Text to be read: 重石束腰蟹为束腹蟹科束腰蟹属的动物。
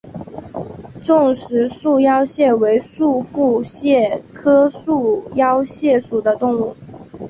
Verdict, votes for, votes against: accepted, 2, 0